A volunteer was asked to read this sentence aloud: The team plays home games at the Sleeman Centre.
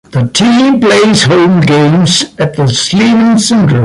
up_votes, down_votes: 2, 0